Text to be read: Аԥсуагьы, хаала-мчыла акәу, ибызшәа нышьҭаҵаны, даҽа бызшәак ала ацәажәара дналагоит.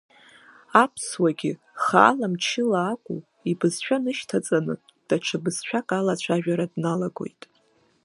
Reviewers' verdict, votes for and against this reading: accepted, 2, 0